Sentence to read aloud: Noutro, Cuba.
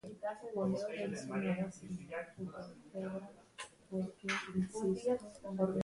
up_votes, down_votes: 0, 3